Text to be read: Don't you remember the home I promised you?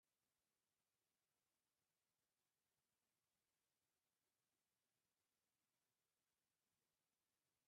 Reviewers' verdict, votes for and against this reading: rejected, 0, 3